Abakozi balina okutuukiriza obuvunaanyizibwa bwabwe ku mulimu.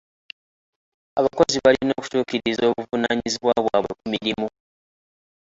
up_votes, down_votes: 1, 2